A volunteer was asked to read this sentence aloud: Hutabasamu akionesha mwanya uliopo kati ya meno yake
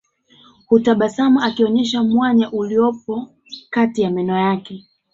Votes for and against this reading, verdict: 2, 3, rejected